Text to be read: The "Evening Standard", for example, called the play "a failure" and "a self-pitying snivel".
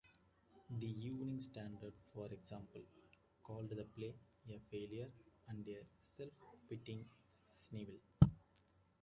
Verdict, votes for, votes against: rejected, 0, 2